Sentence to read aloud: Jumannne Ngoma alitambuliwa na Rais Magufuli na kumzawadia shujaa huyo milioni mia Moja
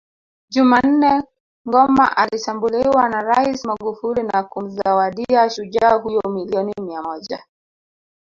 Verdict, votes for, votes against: accepted, 2, 0